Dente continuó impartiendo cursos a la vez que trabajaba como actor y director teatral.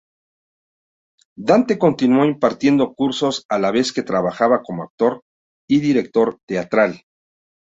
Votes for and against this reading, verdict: 0, 2, rejected